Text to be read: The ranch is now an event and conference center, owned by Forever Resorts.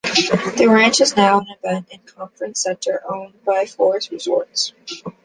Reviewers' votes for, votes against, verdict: 1, 2, rejected